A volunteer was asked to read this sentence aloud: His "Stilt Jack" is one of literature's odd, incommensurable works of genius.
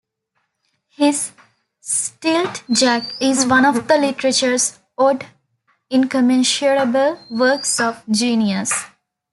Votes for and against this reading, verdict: 0, 2, rejected